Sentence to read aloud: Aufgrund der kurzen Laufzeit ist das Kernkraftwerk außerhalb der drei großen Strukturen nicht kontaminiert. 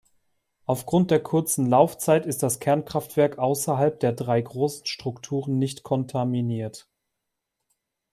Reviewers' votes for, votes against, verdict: 2, 0, accepted